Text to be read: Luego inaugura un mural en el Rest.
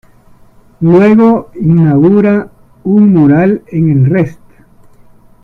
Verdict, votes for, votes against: accepted, 2, 1